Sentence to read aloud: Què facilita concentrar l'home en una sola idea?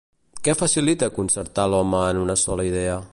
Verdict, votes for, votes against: rejected, 1, 3